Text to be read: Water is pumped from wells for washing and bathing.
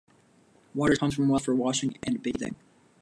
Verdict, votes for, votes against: accepted, 2, 0